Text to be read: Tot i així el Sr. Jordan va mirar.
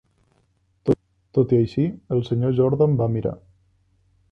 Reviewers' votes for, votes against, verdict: 0, 2, rejected